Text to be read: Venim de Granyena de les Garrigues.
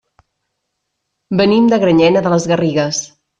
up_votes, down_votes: 3, 0